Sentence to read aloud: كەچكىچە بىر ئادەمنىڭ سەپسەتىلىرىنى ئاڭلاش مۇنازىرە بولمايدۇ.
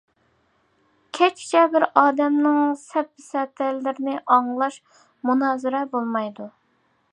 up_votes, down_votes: 2, 0